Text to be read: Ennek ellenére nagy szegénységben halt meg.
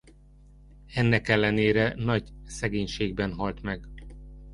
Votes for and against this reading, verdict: 1, 2, rejected